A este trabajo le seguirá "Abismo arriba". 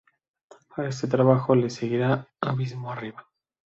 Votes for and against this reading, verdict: 2, 0, accepted